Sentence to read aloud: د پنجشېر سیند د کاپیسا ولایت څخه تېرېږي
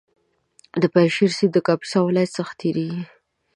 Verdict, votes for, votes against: accepted, 2, 0